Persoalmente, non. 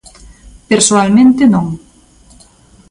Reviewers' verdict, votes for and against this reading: accepted, 2, 0